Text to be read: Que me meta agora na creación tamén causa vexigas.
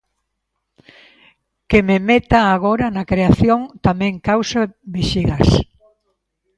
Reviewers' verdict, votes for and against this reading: accepted, 2, 0